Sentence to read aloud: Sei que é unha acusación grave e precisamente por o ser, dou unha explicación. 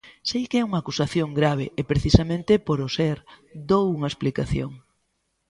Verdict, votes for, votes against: accepted, 2, 0